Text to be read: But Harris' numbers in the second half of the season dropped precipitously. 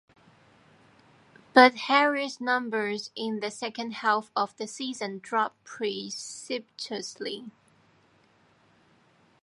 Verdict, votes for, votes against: rejected, 1, 2